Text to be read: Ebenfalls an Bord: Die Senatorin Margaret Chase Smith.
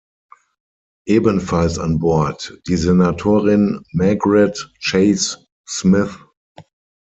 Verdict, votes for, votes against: rejected, 0, 6